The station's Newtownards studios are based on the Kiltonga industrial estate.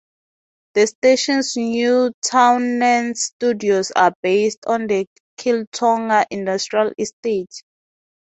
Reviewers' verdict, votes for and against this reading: rejected, 0, 2